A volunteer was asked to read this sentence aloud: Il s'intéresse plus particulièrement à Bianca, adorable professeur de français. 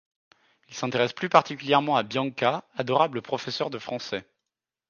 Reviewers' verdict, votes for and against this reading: accepted, 2, 0